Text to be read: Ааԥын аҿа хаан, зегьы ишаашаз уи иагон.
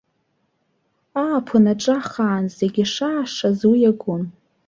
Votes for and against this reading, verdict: 2, 0, accepted